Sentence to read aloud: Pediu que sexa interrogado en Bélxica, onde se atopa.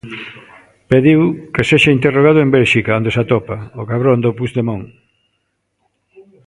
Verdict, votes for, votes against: rejected, 0, 2